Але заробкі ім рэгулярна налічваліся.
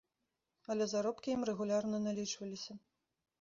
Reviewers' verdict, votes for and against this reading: accepted, 2, 0